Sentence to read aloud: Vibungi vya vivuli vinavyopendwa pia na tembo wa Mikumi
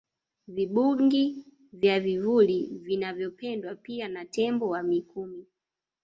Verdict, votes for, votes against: rejected, 1, 2